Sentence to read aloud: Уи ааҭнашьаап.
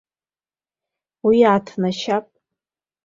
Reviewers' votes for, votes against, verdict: 2, 1, accepted